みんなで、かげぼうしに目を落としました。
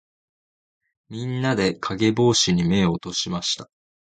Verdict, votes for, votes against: accepted, 2, 0